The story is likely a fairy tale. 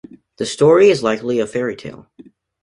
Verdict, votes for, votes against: accepted, 2, 0